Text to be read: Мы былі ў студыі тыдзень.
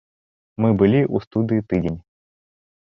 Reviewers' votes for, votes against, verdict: 2, 0, accepted